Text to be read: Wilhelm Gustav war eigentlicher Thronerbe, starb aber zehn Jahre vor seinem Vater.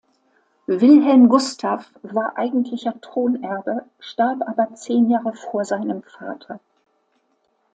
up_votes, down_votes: 2, 0